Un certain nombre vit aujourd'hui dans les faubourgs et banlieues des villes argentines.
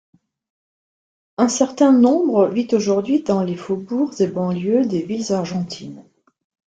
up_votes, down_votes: 2, 0